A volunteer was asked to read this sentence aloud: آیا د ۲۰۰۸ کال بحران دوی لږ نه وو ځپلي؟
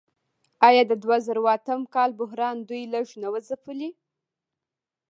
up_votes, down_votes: 0, 2